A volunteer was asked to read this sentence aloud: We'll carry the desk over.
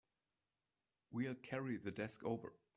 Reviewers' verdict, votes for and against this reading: accepted, 3, 0